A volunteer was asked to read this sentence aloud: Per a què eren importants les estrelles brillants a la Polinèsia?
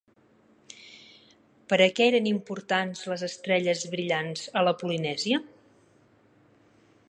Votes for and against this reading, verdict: 5, 0, accepted